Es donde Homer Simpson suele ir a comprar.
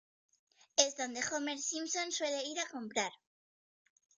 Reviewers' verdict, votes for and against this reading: accepted, 2, 0